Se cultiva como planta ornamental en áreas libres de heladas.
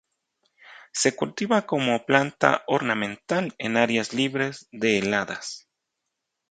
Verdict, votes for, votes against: rejected, 0, 2